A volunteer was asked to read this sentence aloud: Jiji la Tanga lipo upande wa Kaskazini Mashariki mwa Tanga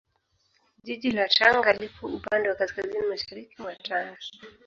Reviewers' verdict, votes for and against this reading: accepted, 2, 1